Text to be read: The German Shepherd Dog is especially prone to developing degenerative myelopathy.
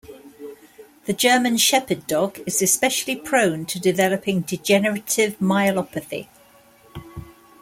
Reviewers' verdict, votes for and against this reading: accepted, 2, 0